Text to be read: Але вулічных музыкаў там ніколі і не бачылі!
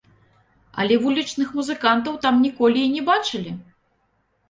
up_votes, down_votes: 0, 2